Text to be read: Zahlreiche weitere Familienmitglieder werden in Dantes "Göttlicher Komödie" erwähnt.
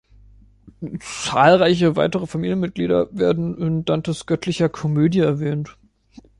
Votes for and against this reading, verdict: 2, 0, accepted